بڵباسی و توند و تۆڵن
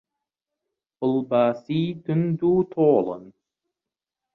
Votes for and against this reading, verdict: 0, 2, rejected